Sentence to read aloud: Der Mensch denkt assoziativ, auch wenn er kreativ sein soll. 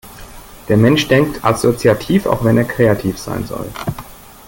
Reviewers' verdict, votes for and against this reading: accepted, 2, 1